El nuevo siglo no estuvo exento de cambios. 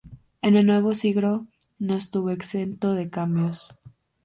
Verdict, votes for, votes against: rejected, 0, 2